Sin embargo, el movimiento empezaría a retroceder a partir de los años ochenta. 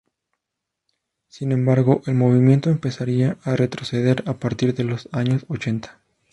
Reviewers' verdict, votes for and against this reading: accepted, 2, 0